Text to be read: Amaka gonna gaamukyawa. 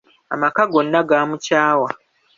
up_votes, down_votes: 2, 1